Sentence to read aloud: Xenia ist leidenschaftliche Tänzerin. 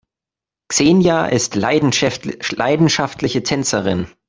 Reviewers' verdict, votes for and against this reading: rejected, 0, 2